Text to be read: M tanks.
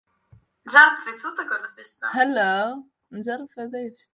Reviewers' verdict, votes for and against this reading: rejected, 0, 2